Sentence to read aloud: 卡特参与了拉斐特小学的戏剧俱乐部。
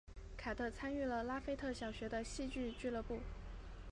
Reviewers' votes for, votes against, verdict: 3, 0, accepted